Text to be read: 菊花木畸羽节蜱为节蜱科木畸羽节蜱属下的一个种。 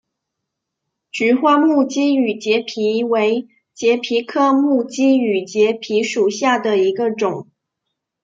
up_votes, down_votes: 2, 0